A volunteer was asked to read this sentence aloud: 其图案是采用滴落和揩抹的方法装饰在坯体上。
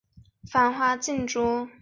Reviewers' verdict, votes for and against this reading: rejected, 1, 2